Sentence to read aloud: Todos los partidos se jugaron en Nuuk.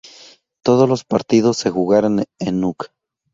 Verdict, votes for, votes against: accepted, 2, 0